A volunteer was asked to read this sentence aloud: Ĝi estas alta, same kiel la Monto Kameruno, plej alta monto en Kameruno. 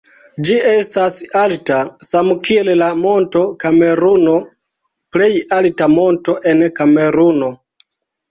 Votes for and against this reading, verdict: 0, 2, rejected